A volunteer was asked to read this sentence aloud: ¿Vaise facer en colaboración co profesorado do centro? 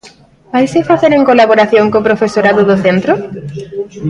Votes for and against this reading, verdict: 0, 2, rejected